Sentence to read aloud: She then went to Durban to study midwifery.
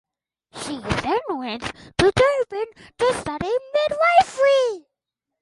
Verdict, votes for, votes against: accepted, 4, 0